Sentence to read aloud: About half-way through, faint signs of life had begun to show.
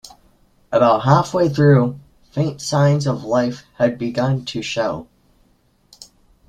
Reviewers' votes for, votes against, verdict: 2, 0, accepted